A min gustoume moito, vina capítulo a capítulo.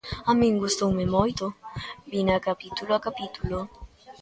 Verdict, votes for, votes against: accepted, 2, 0